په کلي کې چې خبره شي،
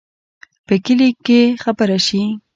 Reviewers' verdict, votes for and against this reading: accepted, 2, 0